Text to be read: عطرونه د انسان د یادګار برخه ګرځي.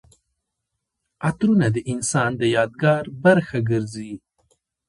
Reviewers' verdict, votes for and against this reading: accepted, 2, 0